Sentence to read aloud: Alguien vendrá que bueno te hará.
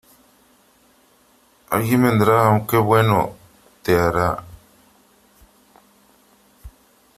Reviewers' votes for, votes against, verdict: 0, 3, rejected